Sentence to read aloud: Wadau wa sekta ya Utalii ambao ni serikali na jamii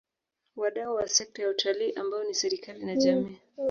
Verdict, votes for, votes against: accepted, 2, 1